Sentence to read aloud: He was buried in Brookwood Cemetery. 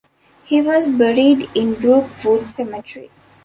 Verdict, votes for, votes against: rejected, 1, 2